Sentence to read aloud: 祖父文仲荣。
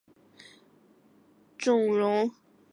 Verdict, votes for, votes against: rejected, 0, 4